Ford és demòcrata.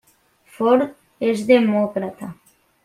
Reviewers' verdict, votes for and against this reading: accepted, 3, 0